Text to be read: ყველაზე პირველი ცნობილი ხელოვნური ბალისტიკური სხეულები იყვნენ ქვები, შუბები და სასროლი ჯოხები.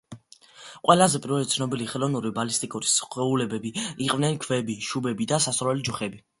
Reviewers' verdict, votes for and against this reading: accepted, 3, 2